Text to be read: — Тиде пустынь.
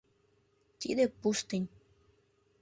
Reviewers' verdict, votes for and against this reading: rejected, 0, 2